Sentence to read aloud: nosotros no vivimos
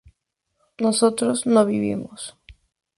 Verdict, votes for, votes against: accepted, 2, 0